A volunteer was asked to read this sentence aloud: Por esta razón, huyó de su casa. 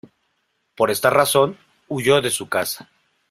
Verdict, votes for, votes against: accepted, 2, 0